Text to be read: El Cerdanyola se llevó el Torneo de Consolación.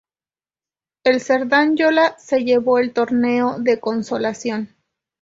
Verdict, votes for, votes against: accepted, 2, 0